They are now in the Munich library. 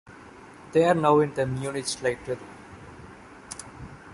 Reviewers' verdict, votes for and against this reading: rejected, 0, 2